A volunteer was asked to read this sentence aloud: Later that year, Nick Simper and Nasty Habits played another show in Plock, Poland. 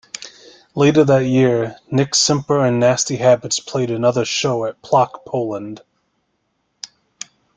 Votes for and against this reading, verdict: 0, 2, rejected